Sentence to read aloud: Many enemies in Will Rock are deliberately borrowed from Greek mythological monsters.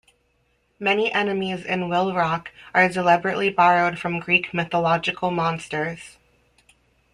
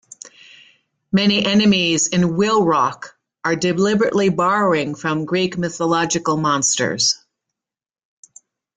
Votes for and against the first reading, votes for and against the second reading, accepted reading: 2, 0, 0, 2, first